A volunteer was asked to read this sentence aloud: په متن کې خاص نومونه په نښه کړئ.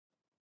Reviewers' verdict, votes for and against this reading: rejected, 0, 2